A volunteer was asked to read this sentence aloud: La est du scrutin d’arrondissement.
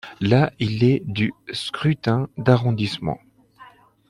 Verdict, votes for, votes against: rejected, 0, 2